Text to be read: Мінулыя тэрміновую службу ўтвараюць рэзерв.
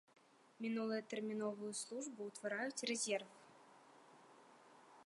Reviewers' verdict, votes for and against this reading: accepted, 2, 0